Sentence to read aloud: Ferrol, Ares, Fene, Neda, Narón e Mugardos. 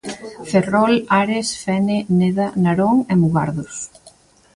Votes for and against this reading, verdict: 1, 2, rejected